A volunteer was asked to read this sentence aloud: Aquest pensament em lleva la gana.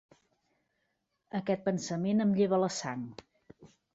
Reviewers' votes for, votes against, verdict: 1, 2, rejected